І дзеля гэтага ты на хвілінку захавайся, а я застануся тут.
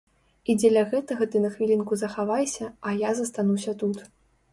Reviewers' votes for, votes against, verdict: 3, 0, accepted